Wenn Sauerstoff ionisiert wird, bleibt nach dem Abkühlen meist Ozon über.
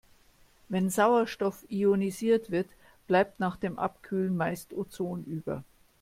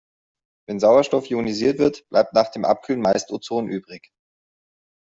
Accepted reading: first